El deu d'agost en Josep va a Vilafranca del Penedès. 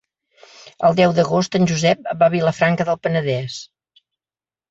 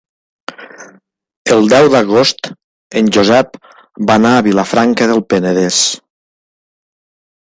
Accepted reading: first